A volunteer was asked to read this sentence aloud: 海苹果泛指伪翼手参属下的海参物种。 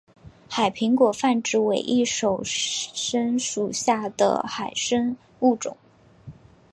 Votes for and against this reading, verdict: 4, 0, accepted